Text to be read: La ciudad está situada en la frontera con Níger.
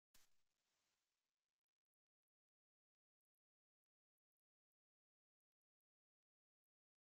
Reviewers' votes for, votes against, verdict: 0, 2, rejected